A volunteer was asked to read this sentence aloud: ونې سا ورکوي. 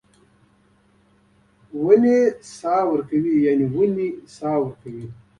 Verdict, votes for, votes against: rejected, 0, 2